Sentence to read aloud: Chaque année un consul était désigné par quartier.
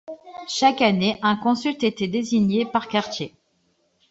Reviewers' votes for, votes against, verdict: 0, 2, rejected